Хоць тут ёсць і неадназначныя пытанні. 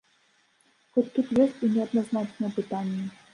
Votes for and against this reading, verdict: 0, 2, rejected